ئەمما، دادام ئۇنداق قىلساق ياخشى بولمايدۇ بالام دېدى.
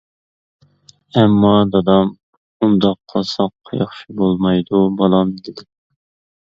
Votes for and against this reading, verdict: 1, 2, rejected